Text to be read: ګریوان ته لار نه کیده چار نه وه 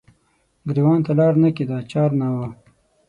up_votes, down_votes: 6, 0